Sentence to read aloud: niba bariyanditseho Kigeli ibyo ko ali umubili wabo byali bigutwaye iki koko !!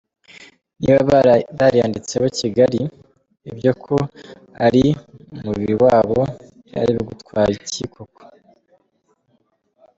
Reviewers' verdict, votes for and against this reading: rejected, 1, 2